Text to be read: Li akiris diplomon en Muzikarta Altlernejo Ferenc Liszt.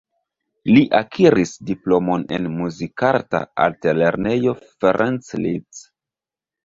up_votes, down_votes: 2, 1